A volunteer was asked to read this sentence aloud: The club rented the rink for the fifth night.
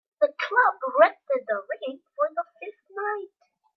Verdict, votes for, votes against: accepted, 2, 0